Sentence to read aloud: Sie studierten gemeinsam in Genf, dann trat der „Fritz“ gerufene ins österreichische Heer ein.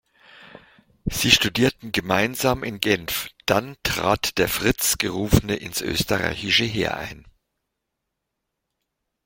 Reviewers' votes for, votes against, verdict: 2, 0, accepted